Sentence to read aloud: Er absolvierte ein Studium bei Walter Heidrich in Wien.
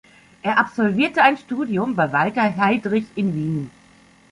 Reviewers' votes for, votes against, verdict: 2, 0, accepted